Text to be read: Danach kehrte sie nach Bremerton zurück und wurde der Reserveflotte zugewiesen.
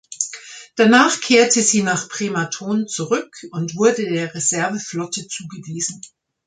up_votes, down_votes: 1, 2